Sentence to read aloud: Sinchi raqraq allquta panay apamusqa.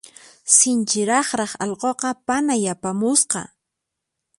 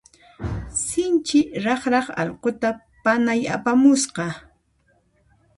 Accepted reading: second